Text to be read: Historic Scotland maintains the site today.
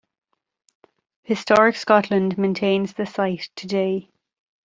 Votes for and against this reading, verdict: 2, 0, accepted